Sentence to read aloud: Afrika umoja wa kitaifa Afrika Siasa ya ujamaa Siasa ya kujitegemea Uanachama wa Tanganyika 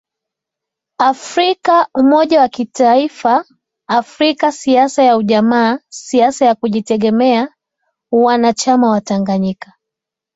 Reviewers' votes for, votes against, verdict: 2, 0, accepted